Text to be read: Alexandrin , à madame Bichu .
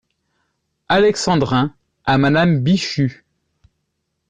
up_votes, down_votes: 2, 0